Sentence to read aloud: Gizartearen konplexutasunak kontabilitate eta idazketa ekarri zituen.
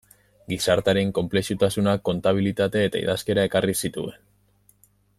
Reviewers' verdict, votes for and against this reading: rejected, 0, 2